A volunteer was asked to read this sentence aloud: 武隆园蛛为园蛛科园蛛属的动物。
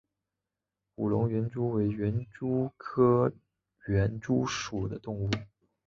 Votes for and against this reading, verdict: 3, 0, accepted